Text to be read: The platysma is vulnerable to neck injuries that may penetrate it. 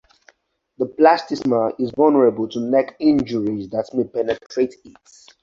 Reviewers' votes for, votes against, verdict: 0, 4, rejected